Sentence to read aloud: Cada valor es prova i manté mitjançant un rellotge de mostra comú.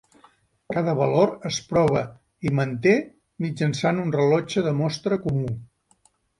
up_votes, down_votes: 4, 5